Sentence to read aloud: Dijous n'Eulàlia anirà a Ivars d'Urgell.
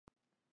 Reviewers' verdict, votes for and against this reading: rejected, 0, 2